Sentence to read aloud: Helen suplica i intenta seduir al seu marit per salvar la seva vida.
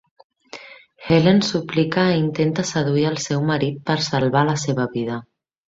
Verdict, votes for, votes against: accepted, 3, 0